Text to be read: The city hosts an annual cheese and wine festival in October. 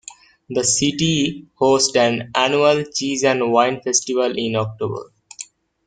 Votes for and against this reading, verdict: 0, 2, rejected